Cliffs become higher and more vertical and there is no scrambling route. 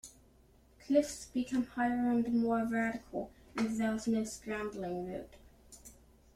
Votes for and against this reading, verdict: 1, 2, rejected